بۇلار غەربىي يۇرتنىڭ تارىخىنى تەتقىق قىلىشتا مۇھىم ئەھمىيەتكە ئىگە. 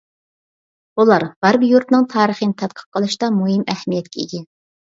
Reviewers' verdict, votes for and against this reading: accepted, 2, 1